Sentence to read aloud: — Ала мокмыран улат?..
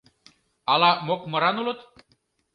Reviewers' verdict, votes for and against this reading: rejected, 0, 2